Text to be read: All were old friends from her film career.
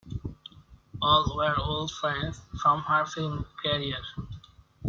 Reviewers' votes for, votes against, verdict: 1, 2, rejected